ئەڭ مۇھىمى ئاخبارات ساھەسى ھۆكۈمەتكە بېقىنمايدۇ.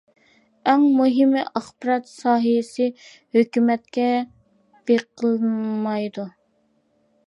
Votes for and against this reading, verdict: 2, 0, accepted